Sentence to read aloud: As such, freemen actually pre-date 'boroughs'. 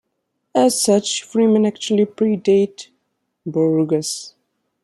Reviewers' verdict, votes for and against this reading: rejected, 0, 2